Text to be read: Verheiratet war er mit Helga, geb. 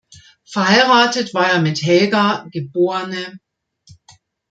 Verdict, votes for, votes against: accepted, 2, 0